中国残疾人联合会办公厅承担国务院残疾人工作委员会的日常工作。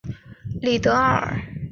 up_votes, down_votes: 0, 2